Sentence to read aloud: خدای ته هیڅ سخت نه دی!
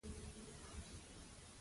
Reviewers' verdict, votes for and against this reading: rejected, 0, 2